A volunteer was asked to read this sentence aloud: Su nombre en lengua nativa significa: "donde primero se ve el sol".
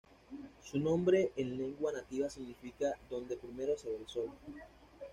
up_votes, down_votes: 2, 0